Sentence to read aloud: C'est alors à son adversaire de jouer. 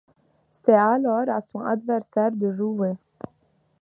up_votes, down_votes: 2, 0